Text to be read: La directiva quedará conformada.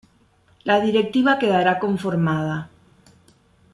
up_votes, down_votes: 2, 0